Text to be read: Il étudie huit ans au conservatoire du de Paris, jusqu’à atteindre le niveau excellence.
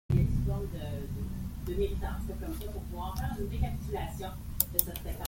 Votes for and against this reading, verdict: 0, 2, rejected